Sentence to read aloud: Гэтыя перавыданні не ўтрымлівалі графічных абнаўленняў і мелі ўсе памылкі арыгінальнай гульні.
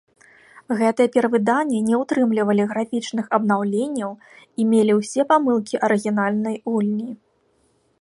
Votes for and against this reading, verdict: 3, 0, accepted